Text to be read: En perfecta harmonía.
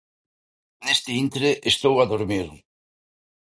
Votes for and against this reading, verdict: 0, 2, rejected